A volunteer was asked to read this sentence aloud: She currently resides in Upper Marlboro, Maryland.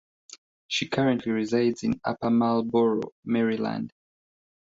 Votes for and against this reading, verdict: 1, 2, rejected